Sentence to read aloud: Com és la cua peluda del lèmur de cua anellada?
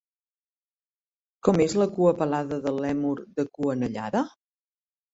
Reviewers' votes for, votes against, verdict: 1, 2, rejected